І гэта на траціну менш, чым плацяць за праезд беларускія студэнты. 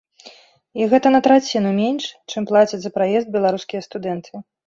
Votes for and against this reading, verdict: 2, 0, accepted